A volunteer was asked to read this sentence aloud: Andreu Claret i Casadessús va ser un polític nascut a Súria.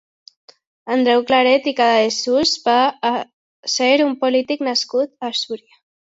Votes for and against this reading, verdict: 2, 0, accepted